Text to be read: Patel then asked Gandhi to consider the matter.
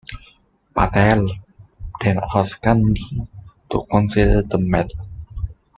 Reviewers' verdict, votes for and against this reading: accepted, 2, 0